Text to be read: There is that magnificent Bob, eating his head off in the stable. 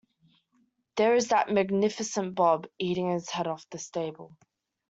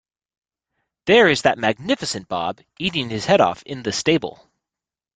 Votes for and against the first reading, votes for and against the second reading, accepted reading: 1, 2, 2, 0, second